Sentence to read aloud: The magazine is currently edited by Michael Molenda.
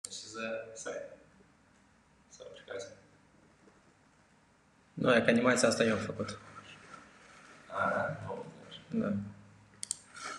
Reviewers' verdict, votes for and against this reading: rejected, 0, 2